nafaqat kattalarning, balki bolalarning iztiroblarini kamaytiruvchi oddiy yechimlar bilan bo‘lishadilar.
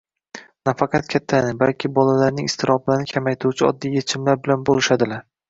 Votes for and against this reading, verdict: 1, 2, rejected